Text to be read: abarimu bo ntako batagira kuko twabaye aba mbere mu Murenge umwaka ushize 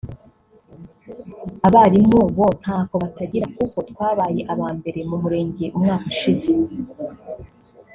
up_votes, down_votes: 0, 2